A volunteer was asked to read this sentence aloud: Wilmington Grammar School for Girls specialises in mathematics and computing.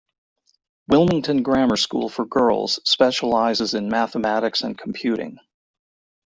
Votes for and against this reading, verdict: 0, 2, rejected